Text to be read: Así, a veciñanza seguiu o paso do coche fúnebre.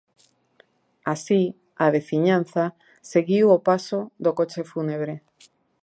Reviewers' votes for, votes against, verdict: 2, 0, accepted